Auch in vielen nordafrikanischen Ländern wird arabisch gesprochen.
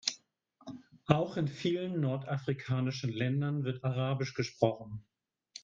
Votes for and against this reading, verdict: 2, 0, accepted